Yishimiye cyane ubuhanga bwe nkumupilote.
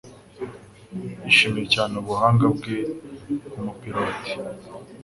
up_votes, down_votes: 2, 0